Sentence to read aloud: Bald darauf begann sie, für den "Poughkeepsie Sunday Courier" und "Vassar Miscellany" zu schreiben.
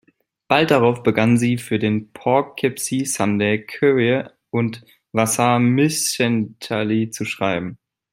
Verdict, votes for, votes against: rejected, 0, 2